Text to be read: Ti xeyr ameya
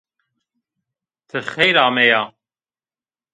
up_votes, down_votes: 0, 2